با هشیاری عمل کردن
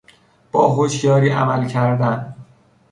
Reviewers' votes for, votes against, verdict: 3, 0, accepted